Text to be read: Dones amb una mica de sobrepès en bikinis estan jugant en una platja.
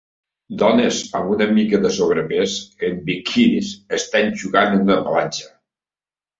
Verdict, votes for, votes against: rejected, 1, 2